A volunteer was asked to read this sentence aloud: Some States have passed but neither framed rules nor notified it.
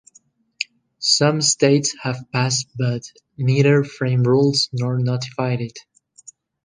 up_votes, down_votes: 1, 2